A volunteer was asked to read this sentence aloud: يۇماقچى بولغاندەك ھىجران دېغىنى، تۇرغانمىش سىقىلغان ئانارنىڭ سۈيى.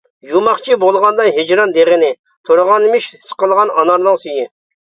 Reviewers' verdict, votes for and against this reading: accepted, 2, 1